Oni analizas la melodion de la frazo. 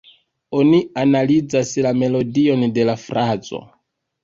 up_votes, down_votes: 1, 2